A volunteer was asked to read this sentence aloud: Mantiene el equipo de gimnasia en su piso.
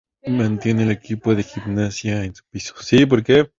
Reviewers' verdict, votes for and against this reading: rejected, 0, 2